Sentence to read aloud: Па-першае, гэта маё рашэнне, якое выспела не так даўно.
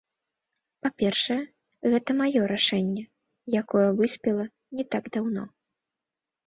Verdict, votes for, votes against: accepted, 2, 1